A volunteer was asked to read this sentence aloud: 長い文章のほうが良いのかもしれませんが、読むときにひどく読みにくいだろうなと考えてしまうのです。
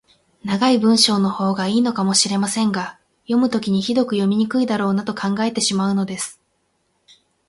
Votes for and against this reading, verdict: 8, 0, accepted